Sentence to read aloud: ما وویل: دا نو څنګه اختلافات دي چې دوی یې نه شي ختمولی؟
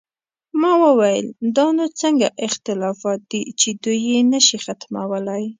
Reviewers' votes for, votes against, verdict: 2, 0, accepted